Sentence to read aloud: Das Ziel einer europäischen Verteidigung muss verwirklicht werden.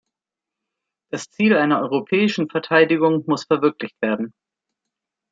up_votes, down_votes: 2, 0